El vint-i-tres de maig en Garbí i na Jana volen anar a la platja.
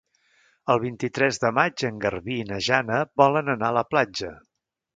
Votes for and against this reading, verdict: 3, 1, accepted